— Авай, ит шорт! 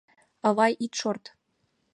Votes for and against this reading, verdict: 2, 0, accepted